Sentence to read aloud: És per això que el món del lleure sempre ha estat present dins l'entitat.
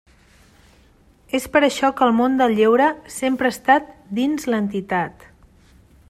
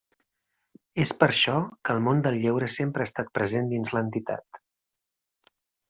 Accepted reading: second